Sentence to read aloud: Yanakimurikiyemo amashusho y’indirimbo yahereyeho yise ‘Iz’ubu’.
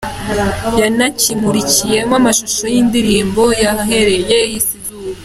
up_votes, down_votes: 1, 2